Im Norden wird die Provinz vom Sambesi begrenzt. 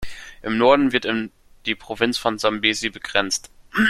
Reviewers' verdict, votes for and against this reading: rejected, 1, 2